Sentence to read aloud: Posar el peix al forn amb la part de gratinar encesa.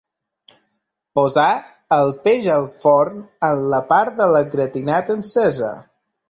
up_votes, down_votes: 0, 2